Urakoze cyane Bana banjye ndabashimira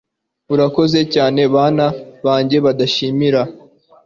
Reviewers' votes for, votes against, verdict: 1, 2, rejected